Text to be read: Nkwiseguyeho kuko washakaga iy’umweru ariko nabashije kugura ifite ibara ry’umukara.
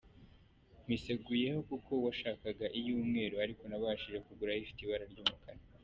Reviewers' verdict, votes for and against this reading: accepted, 2, 0